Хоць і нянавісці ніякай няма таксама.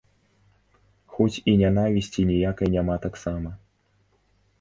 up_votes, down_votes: 2, 0